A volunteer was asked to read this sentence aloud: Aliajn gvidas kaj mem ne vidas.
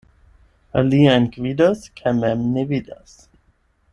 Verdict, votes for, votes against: accepted, 8, 0